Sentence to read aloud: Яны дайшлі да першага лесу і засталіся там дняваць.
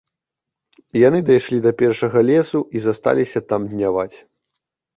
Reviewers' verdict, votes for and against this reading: rejected, 0, 2